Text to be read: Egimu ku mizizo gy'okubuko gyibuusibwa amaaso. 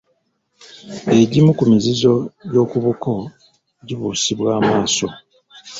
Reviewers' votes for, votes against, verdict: 1, 2, rejected